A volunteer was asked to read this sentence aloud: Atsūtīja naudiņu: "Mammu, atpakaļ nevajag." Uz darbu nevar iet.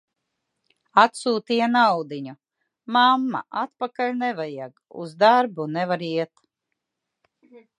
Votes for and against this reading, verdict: 0, 2, rejected